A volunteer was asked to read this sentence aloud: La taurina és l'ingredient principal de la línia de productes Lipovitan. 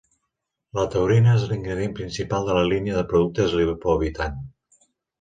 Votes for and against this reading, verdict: 0, 2, rejected